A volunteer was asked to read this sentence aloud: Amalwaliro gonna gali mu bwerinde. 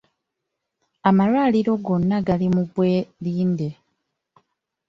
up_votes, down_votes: 0, 2